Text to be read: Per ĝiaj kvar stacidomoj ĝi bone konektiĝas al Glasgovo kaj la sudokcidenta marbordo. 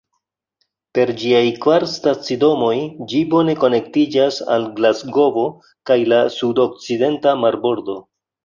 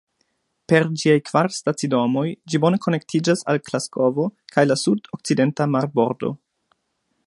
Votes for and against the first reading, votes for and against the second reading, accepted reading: 1, 2, 2, 0, second